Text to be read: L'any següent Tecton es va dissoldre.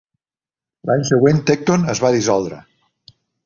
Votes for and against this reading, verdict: 3, 0, accepted